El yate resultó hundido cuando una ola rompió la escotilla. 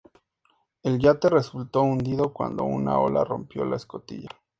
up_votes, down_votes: 2, 0